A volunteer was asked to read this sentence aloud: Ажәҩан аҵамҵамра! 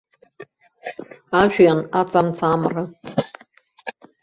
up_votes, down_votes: 1, 2